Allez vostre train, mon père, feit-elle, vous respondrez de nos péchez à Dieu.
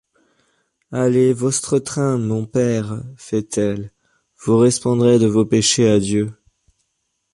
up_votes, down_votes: 1, 2